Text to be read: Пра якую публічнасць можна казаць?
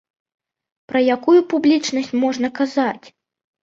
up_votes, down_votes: 2, 0